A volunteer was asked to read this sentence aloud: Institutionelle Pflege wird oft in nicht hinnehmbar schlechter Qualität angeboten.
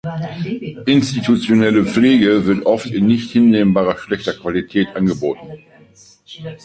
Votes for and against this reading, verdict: 3, 1, accepted